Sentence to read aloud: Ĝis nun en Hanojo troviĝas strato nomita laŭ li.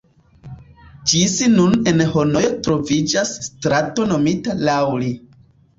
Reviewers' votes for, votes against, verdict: 1, 2, rejected